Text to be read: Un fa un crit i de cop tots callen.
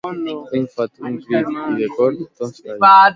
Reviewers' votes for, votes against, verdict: 0, 2, rejected